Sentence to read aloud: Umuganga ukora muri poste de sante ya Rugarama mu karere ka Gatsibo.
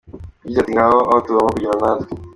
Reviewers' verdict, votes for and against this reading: rejected, 0, 2